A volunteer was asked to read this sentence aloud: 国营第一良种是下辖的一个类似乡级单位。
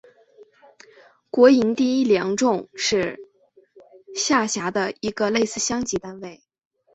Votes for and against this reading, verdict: 3, 0, accepted